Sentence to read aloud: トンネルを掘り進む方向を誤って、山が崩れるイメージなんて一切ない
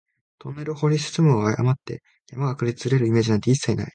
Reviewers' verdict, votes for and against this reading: rejected, 1, 2